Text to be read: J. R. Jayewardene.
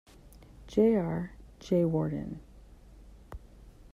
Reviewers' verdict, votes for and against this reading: accepted, 2, 0